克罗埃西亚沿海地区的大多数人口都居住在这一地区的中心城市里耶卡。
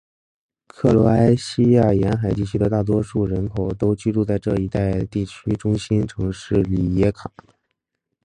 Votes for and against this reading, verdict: 3, 2, accepted